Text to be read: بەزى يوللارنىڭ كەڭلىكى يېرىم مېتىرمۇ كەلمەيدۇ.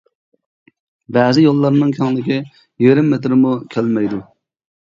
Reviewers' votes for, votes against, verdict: 2, 0, accepted